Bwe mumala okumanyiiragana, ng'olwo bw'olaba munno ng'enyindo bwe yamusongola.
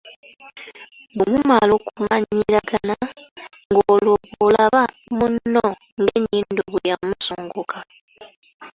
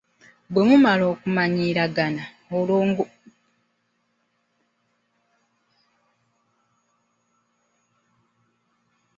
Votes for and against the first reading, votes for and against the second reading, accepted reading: 2, 0, 1, 2, first